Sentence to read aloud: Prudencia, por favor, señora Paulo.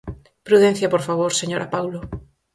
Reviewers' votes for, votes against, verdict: 4, 0, accepted